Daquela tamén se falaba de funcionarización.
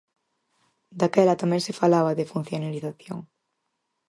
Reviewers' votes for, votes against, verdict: 4, 0, accepted